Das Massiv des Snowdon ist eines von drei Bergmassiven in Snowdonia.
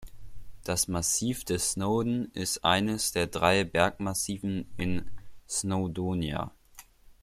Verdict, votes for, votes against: rejected, 1, 2